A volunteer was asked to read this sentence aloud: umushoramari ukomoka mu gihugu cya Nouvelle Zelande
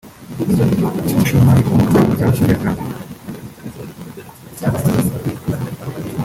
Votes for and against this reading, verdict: 1, 2, rejected